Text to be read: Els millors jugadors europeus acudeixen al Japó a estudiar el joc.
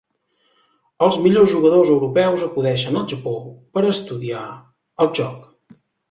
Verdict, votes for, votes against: rejected, 1, 2